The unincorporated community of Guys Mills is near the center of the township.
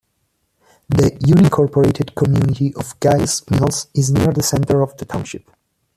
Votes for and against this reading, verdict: 3, 1, accepted